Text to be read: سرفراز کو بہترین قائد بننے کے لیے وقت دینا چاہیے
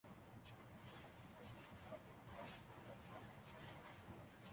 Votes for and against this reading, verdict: 0, 2, rejected